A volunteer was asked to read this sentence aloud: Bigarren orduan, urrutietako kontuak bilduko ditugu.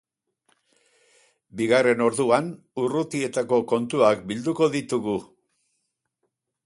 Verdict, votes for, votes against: accepted, 4, 0